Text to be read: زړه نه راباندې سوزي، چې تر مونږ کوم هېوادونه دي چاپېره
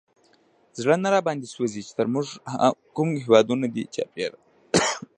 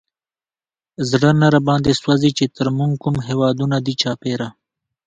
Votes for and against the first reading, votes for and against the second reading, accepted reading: 0, 2, 2, 0, second